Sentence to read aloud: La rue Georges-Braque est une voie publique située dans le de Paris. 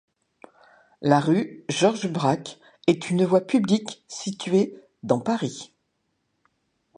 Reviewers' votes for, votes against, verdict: 0, 2, rejected